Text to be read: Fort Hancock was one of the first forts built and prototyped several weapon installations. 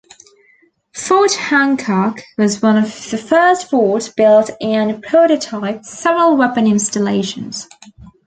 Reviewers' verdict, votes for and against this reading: rejected, 1, 2